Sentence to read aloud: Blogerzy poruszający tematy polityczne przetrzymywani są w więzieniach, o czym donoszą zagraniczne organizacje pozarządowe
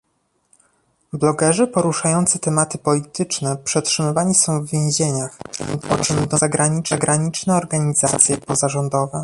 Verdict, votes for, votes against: rejected, 0, 2